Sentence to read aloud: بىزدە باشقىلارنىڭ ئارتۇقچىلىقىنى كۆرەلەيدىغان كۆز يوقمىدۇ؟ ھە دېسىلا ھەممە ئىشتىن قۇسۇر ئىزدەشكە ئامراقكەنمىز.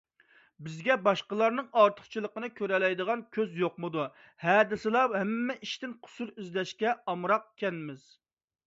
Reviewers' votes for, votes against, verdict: 0, 2, rejected